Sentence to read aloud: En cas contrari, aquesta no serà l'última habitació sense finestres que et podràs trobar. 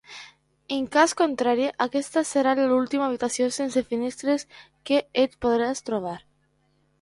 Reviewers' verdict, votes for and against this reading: rejected, 0, 2